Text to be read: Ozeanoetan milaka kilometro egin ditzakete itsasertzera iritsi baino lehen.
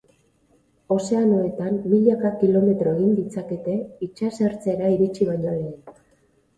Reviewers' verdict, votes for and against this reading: accepted, 2, 0